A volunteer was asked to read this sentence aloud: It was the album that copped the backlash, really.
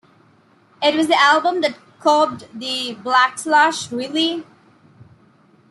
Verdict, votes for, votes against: rejected, 1, 2